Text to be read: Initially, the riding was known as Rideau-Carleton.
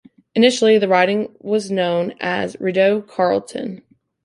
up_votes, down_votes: 2, 0